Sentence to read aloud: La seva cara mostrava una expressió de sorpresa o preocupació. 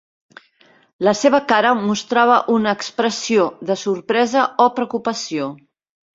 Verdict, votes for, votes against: accepted, 3, 0